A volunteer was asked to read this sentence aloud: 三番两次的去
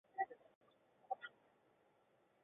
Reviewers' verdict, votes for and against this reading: rejected, 0, 2